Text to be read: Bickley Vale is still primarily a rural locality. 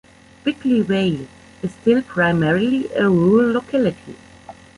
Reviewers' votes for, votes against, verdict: 1, 2, rejected